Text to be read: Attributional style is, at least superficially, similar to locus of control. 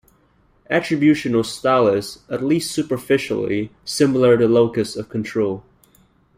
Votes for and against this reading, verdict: 2, 0, accepted